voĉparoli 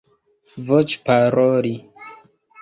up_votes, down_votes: 1, 3